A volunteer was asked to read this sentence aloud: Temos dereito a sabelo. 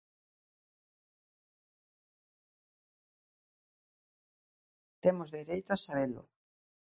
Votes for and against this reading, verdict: 0, 2, rejected